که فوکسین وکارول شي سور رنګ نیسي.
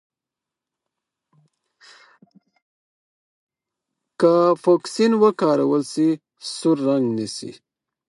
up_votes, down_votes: 0, 4